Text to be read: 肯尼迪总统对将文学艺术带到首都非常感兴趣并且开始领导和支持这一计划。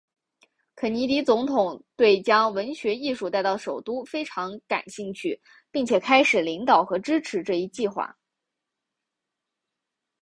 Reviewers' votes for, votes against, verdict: 3, 0, accepted